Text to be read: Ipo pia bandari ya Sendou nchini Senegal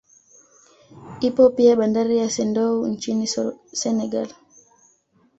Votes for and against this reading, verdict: 2, 0, accepted